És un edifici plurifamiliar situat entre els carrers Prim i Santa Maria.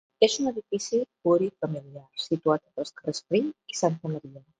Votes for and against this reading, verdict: 1, 2, rejected